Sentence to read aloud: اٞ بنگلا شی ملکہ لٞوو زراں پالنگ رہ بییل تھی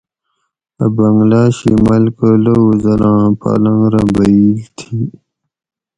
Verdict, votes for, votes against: accepted, 4, 0